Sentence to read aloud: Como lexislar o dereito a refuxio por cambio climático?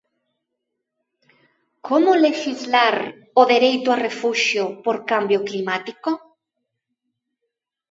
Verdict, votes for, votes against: accepted, 2, 0